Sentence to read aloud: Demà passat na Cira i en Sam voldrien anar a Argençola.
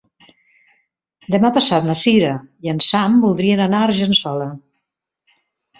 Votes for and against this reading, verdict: 3, 0, accepted